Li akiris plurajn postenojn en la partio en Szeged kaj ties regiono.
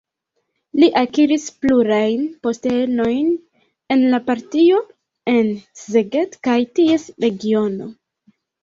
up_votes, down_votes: 1, 2